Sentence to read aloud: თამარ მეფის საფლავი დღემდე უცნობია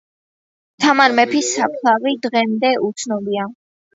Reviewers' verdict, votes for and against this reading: accepted, 2, 0